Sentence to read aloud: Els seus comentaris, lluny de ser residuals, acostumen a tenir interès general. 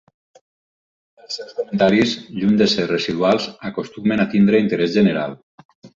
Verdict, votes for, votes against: rejected, 0, 6